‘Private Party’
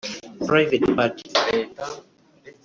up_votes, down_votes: 0, 2